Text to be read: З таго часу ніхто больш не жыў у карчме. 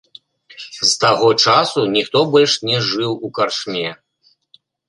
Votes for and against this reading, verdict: 2, 0, accepted